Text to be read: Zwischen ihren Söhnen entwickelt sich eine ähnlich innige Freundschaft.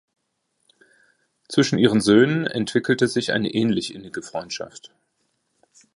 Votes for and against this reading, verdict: 0, 2, rejected